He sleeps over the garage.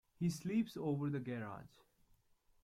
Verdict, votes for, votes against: accepted, 2, 0